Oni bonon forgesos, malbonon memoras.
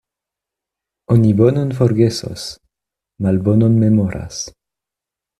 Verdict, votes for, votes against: accepted, 2, 0